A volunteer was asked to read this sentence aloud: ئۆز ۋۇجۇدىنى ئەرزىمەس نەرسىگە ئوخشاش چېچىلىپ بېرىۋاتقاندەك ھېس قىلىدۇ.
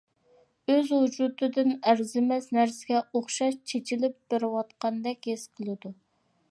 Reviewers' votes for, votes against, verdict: 1, 2, rejected